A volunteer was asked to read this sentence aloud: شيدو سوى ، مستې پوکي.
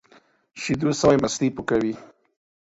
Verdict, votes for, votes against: rejected, 1, 2